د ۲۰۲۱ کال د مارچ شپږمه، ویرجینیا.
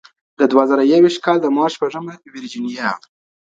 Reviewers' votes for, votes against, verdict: 0, 2, rejected